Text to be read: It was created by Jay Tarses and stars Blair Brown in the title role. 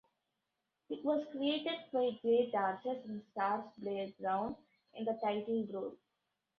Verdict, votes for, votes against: rejected, 1, 2